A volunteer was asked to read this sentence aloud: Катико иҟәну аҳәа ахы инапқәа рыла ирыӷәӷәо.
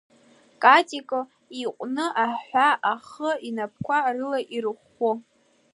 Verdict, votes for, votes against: accepted, 2, 1